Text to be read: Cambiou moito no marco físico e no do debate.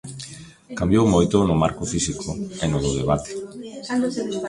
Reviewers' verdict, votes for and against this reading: rejected, 1, 2